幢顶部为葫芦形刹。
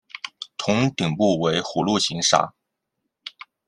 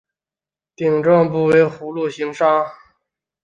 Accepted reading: second